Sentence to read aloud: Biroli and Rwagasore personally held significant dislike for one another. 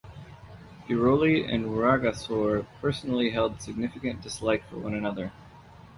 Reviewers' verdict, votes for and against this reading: accepted, 2, 0